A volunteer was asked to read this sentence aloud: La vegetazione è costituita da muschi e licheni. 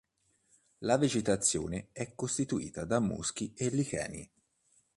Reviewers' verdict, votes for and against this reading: accepted, 2, 0